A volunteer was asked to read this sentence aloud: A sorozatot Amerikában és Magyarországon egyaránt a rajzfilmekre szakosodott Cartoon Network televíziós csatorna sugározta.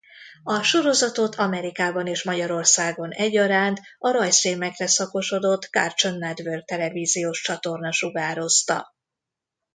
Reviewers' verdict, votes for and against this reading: accepted, 2, 0